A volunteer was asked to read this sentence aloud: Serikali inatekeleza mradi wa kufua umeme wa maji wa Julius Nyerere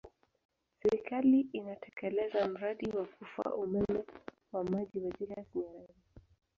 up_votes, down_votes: 1, 2